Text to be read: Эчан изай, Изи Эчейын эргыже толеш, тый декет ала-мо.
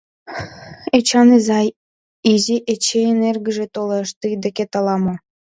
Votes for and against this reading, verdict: 2, 0, accepted